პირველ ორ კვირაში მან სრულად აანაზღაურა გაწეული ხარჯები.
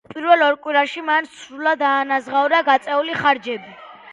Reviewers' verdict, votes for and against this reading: accepted, 2, 0